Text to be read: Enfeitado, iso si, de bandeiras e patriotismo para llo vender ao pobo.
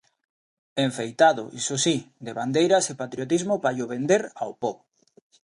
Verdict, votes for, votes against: rejected, 1, 2